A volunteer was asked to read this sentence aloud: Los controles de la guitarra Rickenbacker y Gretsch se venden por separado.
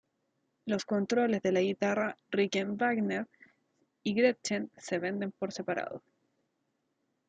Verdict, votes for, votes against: rejected, 1, 2